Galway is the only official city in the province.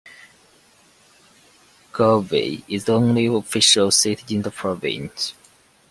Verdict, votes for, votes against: accepted, 2, 0